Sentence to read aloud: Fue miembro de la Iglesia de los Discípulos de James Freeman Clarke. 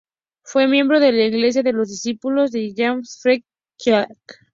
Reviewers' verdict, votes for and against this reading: accepted, 4, 0